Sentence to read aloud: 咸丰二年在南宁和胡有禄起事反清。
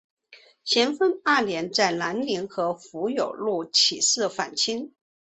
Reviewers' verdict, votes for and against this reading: accepted, 2, 1